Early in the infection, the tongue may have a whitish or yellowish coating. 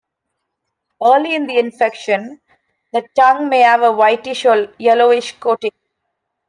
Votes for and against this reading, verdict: 2, 0, accepted